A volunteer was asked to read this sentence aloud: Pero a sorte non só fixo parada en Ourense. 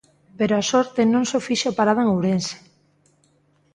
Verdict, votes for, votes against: accepted, 2, 0